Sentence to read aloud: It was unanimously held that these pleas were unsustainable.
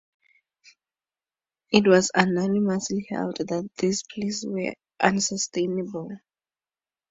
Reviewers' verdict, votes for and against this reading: accepted, 2, 0